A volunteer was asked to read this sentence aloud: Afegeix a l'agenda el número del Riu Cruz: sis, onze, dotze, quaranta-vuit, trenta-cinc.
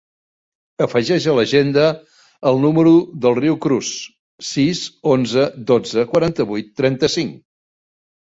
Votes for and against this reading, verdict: 2, 0, accepted